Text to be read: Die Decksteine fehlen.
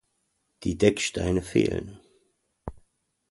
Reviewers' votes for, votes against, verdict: 2, 0, accepted